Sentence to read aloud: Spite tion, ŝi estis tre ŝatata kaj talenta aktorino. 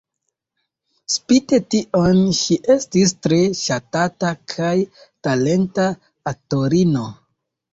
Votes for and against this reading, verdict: 2, 0, accepted